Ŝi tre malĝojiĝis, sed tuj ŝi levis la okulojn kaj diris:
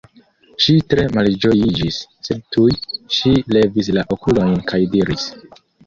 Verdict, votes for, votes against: accepted, 2, 1